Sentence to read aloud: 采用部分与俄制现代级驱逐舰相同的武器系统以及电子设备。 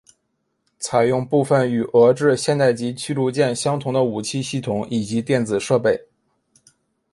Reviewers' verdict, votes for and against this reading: accepted, 2, 0